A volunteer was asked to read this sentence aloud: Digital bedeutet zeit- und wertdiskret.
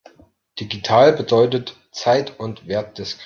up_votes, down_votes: 0, 2